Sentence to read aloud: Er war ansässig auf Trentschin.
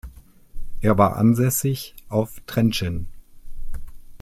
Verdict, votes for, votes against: accepted, 2, 0